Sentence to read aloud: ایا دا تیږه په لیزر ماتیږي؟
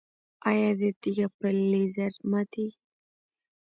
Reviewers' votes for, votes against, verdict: 0, 2, rejected